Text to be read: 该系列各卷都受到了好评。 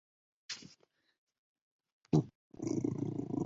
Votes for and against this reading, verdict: 0, 2, rejected